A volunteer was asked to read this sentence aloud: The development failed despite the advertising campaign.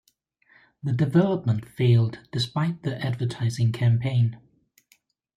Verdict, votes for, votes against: accepted, 3, 2